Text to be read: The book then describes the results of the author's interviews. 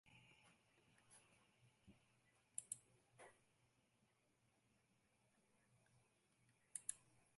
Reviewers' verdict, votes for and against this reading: rejected, 0, 2